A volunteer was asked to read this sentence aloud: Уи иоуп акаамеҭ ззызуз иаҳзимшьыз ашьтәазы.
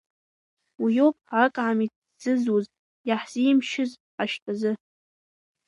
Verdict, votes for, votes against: accepted, 2, 1